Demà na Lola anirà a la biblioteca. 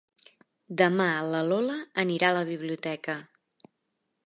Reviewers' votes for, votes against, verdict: 1, 2, rejected